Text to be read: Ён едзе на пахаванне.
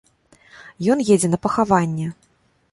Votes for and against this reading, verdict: 2, 0, accepted